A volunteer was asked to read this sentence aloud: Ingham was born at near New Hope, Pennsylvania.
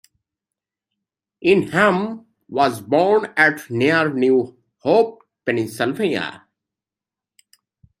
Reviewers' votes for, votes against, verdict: 1, 2, rejected